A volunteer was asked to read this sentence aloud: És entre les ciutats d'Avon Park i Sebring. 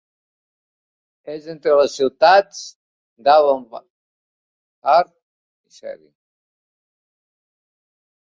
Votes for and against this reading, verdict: 0, 3, rejected